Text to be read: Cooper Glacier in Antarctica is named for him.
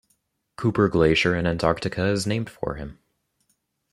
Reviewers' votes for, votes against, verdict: 0, 2, rejected